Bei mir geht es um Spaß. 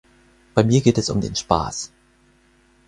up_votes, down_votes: 2, 4